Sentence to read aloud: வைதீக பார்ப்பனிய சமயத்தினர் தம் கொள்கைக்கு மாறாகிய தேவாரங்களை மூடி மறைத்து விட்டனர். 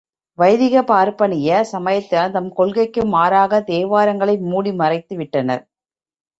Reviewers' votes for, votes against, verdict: 4, 2, accepted